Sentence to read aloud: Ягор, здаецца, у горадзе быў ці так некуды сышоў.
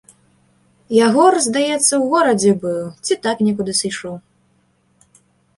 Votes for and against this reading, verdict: 2, 0, accepted